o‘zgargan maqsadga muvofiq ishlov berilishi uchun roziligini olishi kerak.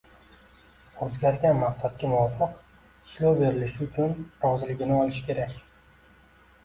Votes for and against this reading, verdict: 0, 2, rejected